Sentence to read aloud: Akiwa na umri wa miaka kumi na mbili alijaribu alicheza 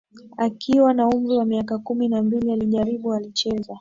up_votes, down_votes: 2, 0